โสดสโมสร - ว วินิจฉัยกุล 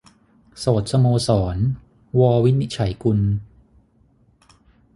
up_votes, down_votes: 6, 0